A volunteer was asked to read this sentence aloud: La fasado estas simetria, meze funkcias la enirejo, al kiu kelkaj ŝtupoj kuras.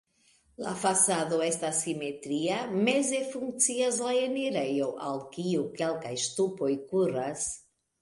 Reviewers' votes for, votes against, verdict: 2, 0, accepted